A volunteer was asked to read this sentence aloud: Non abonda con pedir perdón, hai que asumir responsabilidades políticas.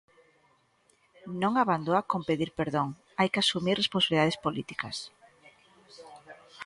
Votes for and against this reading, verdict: 0, 2, rejected